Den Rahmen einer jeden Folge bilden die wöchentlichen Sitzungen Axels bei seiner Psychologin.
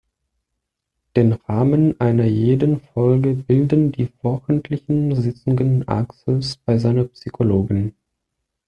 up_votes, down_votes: 1, 2